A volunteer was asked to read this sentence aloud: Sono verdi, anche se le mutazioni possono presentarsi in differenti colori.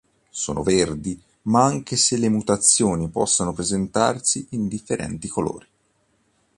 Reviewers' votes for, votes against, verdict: 0, 2, rejected